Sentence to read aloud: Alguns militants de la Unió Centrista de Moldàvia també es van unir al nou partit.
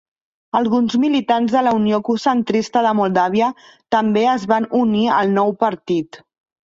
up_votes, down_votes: 0, 2